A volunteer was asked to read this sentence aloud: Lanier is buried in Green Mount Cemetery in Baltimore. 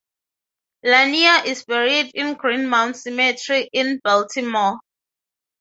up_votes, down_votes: 6, 0